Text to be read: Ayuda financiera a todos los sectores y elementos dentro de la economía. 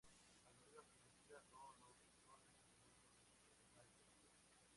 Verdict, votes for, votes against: rejected, 0, 2